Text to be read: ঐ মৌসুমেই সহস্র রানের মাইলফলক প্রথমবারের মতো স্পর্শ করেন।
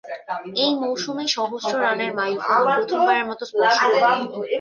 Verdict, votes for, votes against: rejected, 1, 2